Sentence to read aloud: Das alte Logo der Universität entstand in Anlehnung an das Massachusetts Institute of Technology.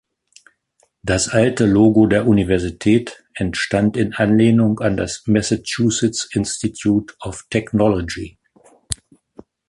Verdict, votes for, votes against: accepted, 2, 0